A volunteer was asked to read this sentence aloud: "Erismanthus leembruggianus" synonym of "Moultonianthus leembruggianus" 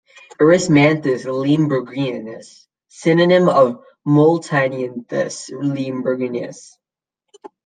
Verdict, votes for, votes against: rejected, 1, 2